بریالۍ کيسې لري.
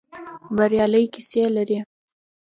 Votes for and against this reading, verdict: 2, 0, accepted